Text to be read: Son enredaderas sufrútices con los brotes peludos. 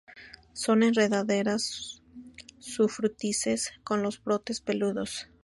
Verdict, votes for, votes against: accepted, 4, 0